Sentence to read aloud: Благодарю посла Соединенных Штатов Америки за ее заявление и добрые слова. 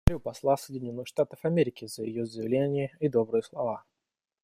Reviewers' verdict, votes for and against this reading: rejected, 1, 2